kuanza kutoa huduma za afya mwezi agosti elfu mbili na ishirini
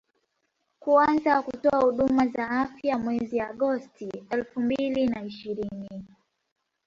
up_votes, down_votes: 2, 0